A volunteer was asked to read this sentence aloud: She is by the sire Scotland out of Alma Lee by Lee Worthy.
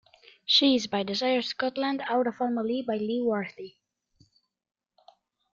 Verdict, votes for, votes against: rejected, 1, 2